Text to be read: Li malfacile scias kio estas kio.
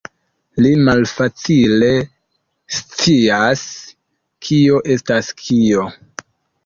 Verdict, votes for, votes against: accepted, 2, 0